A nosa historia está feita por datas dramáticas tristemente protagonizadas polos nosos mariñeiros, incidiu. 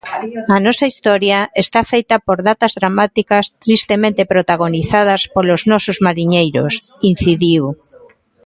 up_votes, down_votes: 2, 1